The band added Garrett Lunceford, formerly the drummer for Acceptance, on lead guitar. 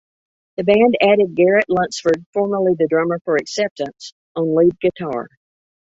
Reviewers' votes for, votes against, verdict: 1, 2, rejected